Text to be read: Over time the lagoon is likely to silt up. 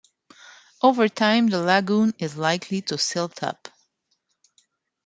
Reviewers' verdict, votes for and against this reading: accepted, 2, 0